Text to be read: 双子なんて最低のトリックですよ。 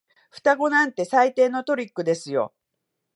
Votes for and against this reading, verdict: 2, 0, accepted